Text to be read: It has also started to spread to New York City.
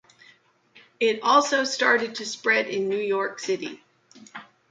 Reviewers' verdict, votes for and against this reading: rejected, 1, 2